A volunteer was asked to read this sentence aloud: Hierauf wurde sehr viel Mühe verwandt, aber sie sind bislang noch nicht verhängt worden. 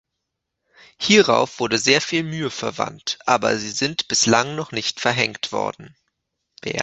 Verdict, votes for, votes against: rejected, 0, 2